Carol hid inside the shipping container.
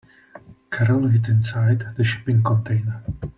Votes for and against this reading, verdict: 2, 0, accepted